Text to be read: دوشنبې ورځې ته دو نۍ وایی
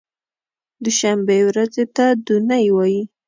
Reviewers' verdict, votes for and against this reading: accepted, 2, 0